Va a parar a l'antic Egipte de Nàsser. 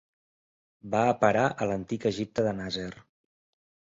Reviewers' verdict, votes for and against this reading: rejected, 0, 2